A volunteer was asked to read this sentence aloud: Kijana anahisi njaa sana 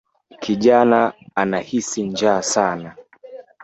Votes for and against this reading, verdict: 1, 2, rejected